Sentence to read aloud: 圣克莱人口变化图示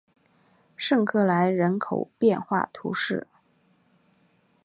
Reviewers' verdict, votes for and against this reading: accepted, 2, 0